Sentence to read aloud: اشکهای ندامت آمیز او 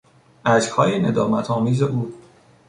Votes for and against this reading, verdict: 2, 0, accepted